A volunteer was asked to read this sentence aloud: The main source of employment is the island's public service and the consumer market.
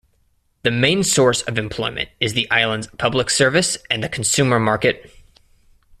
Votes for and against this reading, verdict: 2, 0, accepted